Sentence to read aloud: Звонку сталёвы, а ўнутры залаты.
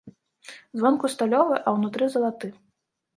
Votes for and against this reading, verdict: 2, 0, accepted